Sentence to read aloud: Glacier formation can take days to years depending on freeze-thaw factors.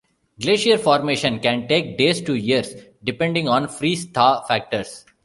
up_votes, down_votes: 2, 0